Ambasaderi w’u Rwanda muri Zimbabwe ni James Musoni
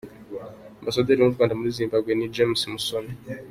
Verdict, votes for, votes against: accepted, 2, 0